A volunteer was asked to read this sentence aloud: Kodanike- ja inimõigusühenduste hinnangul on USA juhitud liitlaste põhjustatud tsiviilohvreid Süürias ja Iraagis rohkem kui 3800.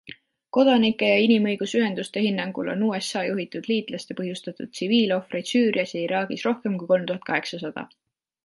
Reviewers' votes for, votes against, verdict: 0, 2, rejected